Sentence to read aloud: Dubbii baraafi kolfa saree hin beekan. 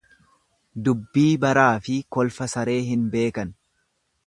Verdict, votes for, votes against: accepted, 3, 0